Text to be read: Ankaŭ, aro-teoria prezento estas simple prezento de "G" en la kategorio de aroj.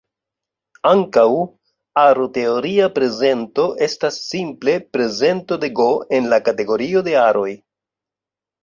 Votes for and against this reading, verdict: 2, 1, accepted